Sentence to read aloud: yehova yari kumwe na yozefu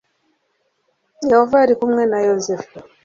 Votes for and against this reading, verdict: 3, 0, accepted